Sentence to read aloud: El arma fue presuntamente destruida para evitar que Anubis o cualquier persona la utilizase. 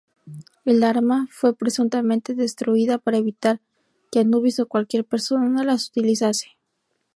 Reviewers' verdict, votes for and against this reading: rejected, 0, 2